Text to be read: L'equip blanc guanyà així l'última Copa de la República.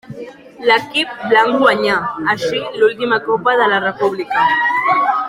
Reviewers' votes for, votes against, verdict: 1, 2, rejected